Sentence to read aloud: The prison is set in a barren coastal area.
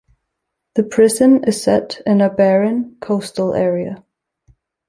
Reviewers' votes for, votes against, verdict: 3, 0, accepted